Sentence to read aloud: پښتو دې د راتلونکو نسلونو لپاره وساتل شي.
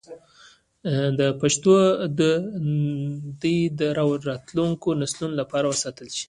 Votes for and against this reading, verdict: 0, 2, rejected